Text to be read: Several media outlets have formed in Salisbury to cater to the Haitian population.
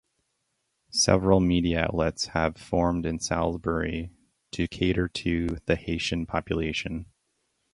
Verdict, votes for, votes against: rejected, 2, 2